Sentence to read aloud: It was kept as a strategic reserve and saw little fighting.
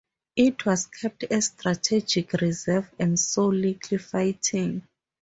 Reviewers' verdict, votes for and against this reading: accepted, 4, 0